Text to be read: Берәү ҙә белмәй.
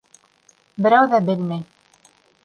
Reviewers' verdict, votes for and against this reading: accepted, 2, 0